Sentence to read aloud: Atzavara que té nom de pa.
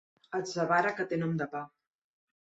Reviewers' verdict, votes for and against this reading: accepted, 2, 0